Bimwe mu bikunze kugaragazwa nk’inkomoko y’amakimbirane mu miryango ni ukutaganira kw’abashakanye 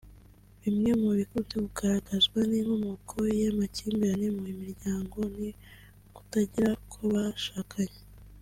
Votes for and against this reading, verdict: 2, 0, accepted